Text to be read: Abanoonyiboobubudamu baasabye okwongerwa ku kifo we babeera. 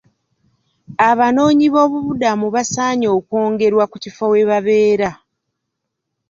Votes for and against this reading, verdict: 1, 2, rejected